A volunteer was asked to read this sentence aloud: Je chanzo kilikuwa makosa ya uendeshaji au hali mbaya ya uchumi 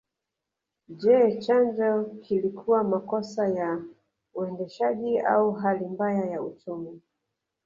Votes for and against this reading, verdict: 0, 2, rejected